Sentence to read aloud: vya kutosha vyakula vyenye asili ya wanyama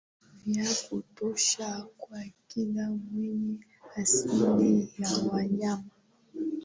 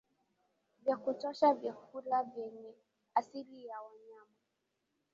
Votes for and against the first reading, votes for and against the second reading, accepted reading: 2, 0, 0, 2, first